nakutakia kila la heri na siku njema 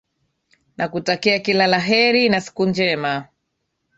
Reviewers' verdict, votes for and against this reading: accepted, 2, 0